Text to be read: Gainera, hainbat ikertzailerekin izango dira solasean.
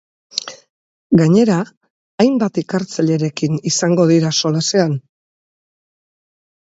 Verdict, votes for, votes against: accepted, 2, 0